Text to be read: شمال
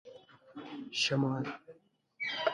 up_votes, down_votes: 2, 1